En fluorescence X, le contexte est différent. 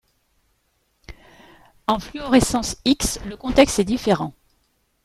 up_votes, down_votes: 2, 0